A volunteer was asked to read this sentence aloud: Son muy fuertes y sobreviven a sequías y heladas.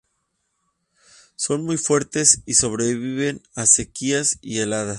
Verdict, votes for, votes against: accepted, 4, 0